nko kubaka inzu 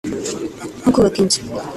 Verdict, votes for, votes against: accepted, 2, 0